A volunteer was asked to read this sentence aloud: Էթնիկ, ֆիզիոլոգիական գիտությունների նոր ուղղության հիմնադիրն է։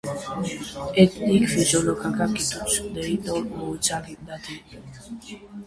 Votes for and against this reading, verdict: 0, 2, rejected